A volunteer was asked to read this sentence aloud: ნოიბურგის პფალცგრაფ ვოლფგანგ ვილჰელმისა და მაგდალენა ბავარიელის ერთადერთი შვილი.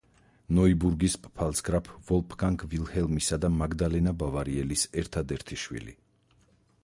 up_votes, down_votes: 2, 2